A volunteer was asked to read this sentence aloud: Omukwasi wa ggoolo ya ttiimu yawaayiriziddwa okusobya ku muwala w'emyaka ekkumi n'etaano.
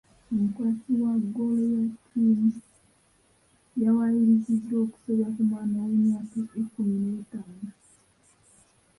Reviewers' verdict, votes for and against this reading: rejected, 0, 2